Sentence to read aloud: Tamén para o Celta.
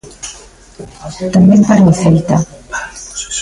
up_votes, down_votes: 0, 2